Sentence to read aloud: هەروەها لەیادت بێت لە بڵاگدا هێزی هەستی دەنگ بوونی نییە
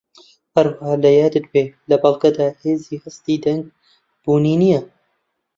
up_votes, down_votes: 0, 2